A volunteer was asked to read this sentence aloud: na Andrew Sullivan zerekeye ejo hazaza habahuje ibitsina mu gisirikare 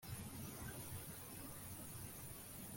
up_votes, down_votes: 0, 2